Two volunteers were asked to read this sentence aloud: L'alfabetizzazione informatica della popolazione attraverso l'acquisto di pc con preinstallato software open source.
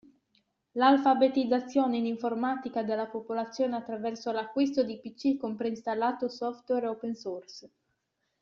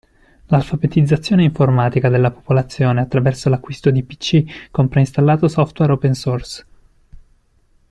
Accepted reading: second